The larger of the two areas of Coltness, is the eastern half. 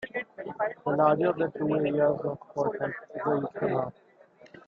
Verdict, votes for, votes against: rejected, 1, 2